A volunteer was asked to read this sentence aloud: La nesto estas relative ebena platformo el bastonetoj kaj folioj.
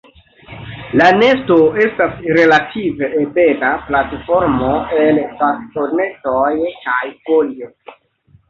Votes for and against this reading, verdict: 1, 2, rejected